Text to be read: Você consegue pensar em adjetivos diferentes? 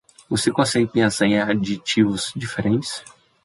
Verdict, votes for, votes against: rejected, 0, 2